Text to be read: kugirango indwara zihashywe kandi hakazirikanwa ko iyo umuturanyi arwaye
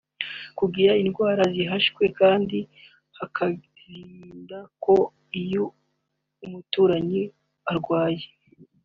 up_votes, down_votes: 0, 3